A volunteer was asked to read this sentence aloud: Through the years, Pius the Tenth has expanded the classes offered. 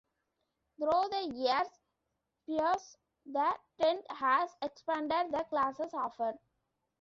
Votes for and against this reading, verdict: 0, 2, rejected